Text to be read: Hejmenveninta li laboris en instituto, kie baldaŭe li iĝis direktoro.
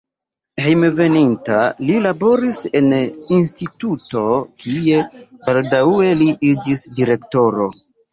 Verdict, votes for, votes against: accepted, 3, 0